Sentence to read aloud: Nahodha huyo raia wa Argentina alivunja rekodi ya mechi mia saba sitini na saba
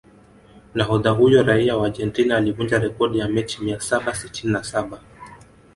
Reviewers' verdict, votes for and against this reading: accepted, 2, 1